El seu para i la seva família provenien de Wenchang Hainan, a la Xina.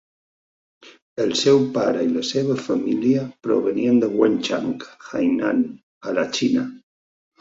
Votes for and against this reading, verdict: 2, 0, accepted